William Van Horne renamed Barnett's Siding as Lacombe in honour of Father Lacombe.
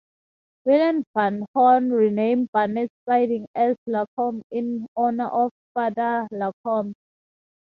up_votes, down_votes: 4, 2